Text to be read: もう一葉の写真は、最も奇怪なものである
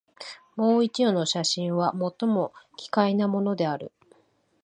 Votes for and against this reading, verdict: 3, 0, accepted